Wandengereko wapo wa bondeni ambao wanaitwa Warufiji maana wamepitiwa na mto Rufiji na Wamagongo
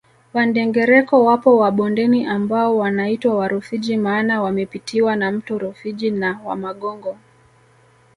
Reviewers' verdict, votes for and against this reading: accepted, 2, 0